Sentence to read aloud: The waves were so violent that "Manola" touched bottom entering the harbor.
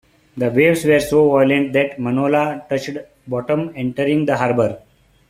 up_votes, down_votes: 2, 1